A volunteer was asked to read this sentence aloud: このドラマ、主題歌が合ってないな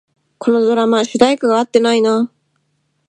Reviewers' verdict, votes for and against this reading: accepted, 2, 0